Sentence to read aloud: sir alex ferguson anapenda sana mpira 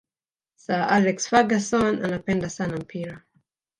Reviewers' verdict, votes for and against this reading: rejected, 1, 2